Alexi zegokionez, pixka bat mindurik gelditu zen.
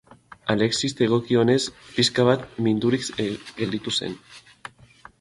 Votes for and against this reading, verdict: 0, 2, rejected